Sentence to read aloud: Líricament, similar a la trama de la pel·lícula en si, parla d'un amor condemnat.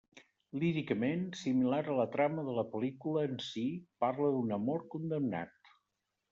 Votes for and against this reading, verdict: 0, 2, rejected